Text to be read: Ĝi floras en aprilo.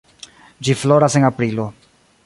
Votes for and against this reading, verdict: 2, 0, accepted